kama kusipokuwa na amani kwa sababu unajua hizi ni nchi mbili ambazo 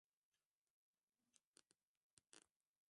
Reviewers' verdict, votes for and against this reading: rejected, 0, 2